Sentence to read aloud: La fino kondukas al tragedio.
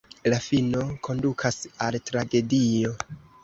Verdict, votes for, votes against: accepted, 2, 0